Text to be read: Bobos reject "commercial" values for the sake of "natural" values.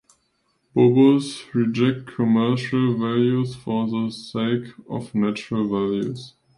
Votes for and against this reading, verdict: 2, 0, accepted